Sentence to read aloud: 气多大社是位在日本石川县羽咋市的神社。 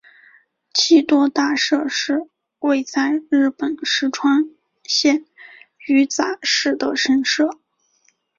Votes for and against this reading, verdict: 2, 0, accepted